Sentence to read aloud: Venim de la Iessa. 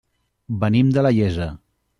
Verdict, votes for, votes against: accepted, 2, 0